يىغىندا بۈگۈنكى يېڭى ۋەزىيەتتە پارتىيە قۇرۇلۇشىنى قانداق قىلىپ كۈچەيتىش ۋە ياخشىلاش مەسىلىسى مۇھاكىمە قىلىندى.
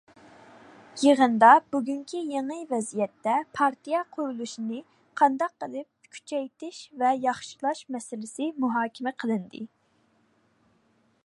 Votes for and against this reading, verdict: 2, 0, accepted